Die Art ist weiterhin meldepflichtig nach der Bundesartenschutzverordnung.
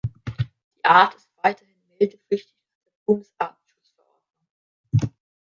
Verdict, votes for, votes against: rejected, 0, 3